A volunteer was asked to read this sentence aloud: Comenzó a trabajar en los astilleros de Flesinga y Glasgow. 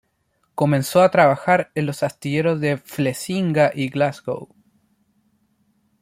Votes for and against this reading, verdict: 1, 2, rejected